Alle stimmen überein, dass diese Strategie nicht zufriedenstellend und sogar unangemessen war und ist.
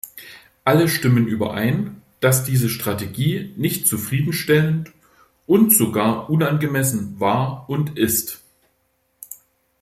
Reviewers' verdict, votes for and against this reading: accepted, 2, 0